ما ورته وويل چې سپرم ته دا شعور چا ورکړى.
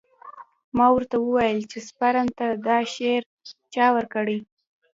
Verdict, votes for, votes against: accepted, 2, 0